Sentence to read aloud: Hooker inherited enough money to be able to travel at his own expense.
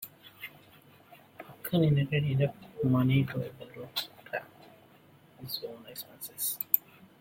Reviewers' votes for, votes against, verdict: 0, 2, rejected